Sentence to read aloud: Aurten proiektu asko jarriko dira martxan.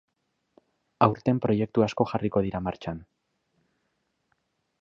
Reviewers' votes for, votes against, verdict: 3, 0, accepted